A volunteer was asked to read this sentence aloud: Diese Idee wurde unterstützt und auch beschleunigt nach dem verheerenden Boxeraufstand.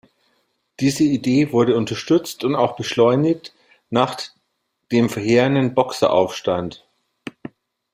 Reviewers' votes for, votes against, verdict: 2, 1, accepted